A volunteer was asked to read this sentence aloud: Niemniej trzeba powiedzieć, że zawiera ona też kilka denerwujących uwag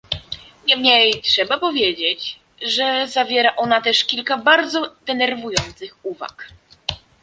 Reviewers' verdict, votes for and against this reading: rejected, 0, 2